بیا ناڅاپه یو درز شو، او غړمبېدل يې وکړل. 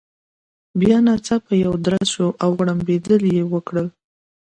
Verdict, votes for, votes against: accepted, 2, 0